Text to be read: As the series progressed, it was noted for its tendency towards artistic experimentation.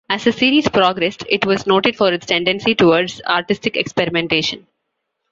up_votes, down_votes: 3, 0